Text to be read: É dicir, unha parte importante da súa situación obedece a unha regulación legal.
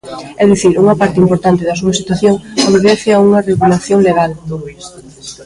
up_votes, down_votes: 2, 1